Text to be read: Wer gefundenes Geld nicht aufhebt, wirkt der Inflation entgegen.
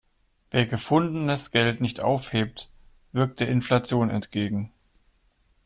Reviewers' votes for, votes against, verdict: 1, 2, rejected